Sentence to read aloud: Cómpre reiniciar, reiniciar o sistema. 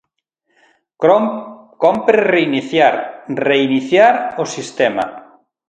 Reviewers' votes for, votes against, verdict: 0, 3, rejected